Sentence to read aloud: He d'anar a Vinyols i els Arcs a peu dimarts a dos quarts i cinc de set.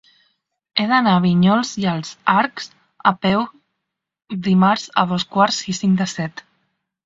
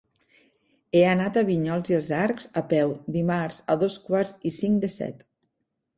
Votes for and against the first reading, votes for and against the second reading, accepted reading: 3, 0, 0, 2, first